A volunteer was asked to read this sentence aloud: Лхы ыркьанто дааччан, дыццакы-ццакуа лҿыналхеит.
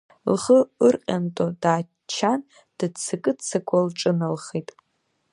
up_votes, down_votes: 0, 2